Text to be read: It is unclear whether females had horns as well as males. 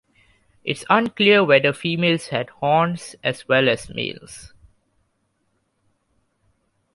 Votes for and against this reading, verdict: 1, 2, rejected